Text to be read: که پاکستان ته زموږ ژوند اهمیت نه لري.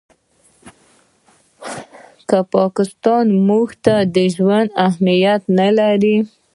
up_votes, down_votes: 2, 3